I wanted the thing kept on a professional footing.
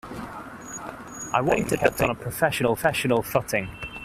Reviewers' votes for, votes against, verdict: 0, 2, rejected